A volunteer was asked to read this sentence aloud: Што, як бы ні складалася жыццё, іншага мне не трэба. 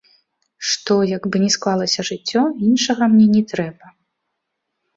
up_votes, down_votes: 0, 2